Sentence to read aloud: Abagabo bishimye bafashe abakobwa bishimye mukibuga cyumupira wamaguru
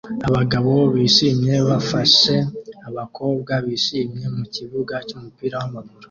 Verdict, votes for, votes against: accepted, 2, 0